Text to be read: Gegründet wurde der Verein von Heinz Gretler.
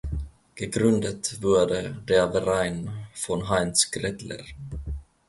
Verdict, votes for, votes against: rejected, 0, 2